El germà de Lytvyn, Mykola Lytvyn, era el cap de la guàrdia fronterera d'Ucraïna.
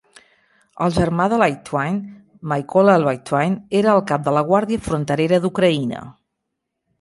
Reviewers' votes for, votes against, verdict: 1, 2, rejected